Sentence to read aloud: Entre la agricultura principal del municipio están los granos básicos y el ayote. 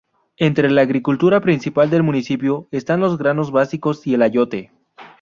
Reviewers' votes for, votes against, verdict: 2, 0, accepted